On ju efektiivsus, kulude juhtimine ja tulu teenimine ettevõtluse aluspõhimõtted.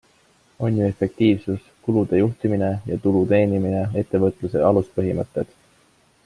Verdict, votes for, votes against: accepted, 2, 0